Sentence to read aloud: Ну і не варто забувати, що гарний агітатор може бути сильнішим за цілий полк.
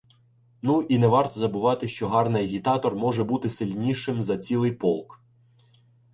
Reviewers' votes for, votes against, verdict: 2, 0, accepted